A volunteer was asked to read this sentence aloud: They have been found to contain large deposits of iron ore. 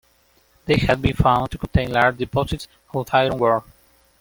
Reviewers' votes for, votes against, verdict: 0, 2, rejected